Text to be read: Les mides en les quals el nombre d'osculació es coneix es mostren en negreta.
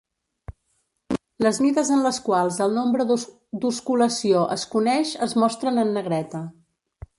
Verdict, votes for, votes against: rejected, 0, 2